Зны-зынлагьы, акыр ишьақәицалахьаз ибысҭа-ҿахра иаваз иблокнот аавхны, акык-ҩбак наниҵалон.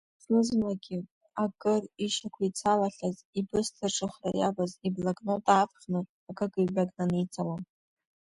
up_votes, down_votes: 2, 0